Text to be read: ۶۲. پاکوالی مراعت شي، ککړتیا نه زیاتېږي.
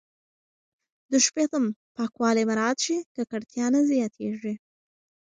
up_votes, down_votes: 0, 2